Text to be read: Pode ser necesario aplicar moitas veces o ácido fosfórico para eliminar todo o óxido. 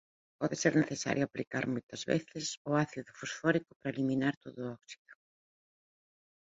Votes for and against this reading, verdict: 2, 1, accepted